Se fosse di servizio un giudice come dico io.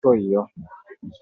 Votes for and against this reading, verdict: 0, 2, rejected